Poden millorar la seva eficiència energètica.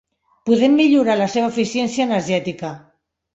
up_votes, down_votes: 0, 2